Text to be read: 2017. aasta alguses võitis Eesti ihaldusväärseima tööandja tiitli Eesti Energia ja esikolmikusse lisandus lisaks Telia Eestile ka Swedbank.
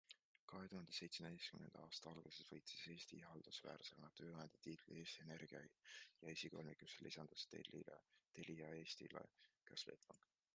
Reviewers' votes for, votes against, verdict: 0, 2, rejected